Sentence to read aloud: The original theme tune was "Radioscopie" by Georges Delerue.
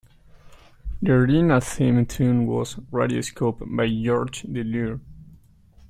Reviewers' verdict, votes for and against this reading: rejected, 0, 2